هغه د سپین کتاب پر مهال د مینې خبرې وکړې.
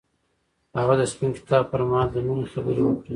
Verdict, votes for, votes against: accepted, 2, 1